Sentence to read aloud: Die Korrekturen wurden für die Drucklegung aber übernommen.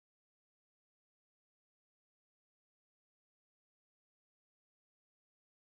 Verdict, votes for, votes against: rejected, 0, 4